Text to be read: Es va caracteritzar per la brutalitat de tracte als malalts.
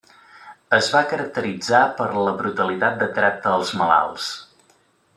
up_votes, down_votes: 3, 0